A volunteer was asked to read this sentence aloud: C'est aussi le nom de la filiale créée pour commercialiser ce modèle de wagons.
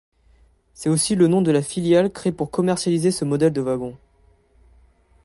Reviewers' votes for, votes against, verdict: 2, 0, accepted